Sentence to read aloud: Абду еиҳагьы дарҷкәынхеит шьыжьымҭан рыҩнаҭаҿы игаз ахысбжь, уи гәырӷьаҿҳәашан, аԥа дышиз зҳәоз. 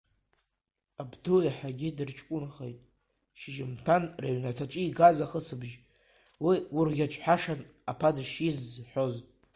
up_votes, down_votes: 0, 2